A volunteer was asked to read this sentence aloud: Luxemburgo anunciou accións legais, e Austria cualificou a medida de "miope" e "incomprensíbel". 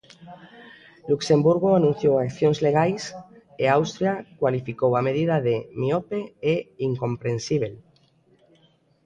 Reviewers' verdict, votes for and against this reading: accepted, 2, 0